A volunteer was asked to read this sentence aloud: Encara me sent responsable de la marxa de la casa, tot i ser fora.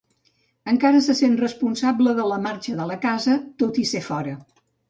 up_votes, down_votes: 1, 2